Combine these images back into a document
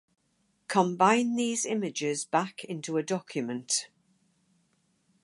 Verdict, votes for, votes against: accepted, 4, 0